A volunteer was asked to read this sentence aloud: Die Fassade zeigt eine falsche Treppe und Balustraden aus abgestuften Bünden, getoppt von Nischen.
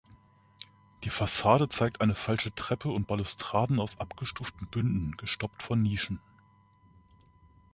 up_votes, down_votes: 1, 3